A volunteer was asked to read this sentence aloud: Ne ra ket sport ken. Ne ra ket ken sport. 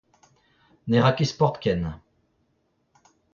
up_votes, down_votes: 0, 2